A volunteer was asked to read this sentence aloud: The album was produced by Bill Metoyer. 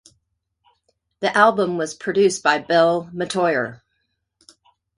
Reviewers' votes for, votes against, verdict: 2, 0, accepted